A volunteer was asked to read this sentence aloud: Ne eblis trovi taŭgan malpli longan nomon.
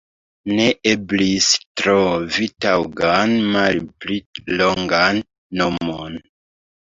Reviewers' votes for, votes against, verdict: 1, 2, rejected